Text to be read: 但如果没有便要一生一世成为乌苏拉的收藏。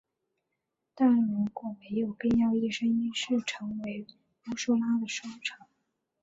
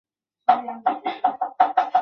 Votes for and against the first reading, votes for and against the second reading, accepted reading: 3, 1, 0, 3, first